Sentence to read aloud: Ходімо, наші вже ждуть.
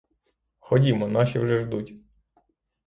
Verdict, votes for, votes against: accepted, 3, 0